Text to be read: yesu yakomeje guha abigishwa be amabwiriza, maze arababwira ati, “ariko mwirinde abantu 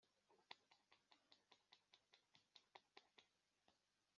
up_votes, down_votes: 0, 2